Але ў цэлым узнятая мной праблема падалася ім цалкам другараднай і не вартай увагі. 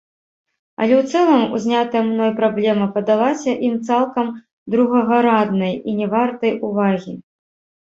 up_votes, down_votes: 0, 4